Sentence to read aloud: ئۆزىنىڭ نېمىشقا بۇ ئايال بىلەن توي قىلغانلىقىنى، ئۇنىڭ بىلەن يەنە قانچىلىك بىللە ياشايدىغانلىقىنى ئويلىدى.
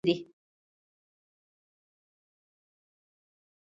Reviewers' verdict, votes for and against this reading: rejected, 0, 2